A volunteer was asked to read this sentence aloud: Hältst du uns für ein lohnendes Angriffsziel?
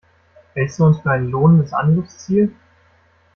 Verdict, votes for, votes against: accepted, 2, 0